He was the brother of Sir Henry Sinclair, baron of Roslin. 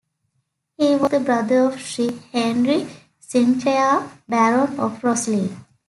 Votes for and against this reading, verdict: 2, 1, accepted